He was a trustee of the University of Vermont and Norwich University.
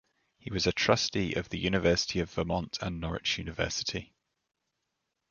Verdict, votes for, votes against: accepted, 2, 0